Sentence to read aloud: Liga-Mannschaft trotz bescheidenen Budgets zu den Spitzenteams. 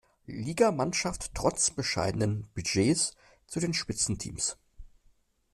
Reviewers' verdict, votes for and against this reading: accepted, 2, 0